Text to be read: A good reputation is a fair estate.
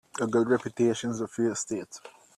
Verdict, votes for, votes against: rejected, 0, 2